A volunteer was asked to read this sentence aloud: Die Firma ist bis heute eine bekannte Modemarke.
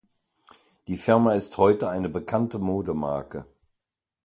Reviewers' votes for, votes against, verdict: 1, 2, rejected